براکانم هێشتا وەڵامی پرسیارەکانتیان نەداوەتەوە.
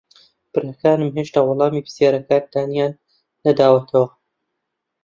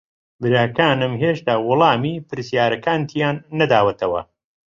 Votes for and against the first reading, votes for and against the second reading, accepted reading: 0, 2, 3, 0, second